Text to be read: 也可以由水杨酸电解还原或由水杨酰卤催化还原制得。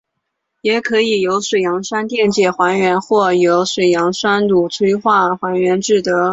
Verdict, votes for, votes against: accepted, 5, 2